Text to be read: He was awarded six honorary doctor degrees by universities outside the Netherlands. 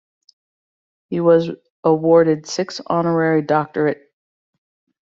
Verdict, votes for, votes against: rejected, 0, 2